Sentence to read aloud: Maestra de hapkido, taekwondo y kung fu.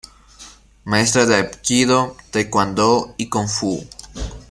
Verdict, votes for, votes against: rejected, 1, 2